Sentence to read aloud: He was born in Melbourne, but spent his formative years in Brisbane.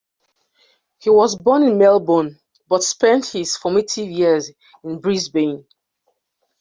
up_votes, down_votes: 2, 0